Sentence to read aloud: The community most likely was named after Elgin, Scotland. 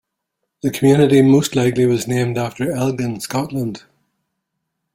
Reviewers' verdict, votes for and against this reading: accepted, 2, 1